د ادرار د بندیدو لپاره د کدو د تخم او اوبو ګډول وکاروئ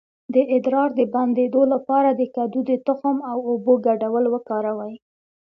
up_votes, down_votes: 2, 0